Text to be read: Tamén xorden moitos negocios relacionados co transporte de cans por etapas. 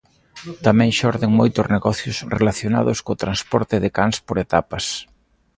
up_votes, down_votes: 2, 0